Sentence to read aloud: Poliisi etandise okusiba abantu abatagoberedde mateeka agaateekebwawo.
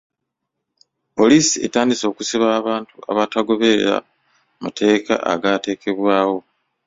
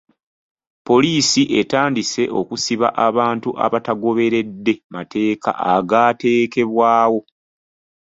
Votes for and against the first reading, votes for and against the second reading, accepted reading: 1, 2, 2, 0, second